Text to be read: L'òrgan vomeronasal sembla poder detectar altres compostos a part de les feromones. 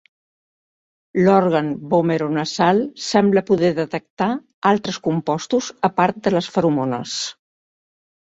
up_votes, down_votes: 2, 0